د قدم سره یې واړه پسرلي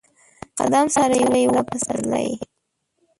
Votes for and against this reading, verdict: 0, 2, rejected